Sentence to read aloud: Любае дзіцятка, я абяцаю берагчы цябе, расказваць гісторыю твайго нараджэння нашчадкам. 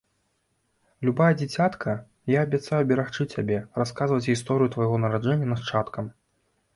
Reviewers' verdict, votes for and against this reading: rejected, 0, 2